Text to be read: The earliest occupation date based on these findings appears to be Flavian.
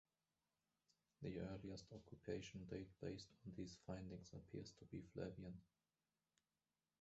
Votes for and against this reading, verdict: 0, 2, rejected